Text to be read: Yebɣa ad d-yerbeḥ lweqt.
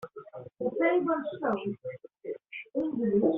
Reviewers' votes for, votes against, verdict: 0, 2, rejected